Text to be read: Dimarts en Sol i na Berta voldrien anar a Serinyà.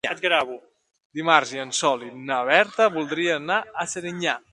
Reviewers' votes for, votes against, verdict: 2, 1, accepted